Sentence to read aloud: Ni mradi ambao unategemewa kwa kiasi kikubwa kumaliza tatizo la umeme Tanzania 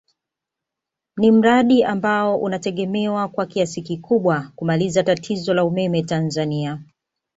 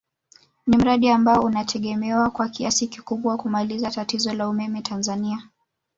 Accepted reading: first